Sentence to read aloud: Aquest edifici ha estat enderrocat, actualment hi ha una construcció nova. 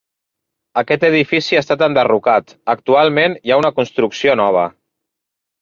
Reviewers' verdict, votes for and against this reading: accepted, 3, 0